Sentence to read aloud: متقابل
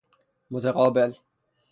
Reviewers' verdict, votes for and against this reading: rejected, 0, 6